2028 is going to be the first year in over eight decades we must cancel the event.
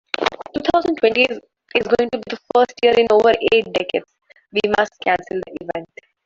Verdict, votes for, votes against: rejected, 0, 2